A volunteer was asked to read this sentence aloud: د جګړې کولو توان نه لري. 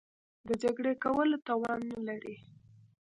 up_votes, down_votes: 2, 0